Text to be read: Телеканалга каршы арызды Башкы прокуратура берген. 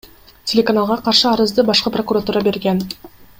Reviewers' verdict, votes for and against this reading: accepted, 2, 1